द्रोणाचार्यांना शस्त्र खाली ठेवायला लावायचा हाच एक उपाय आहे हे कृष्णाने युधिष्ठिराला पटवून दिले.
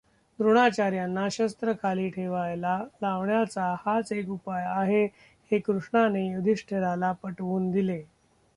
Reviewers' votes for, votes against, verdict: 0, 2, rejected